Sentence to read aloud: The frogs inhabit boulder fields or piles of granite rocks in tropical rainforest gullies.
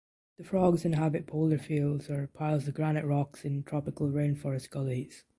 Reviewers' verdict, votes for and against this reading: rejected, 1, 2